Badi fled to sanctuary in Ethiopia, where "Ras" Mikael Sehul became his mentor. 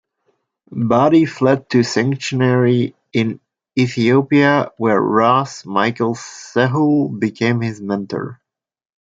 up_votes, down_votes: 1, 2